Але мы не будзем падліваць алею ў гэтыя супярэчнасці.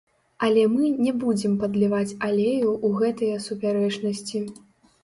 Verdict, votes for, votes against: rejected, 1, 2